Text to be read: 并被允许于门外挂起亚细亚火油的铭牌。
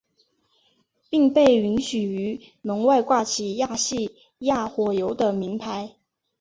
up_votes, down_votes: 2, 0